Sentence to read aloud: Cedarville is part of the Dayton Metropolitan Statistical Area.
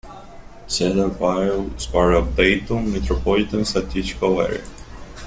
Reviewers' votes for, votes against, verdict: 1, 2, rejected